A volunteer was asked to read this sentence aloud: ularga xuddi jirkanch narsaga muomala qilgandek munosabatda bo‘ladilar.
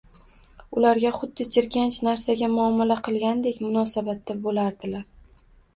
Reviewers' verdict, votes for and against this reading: rejected, 1, 2